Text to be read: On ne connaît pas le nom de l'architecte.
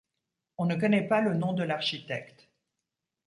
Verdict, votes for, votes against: accepted, 2, 0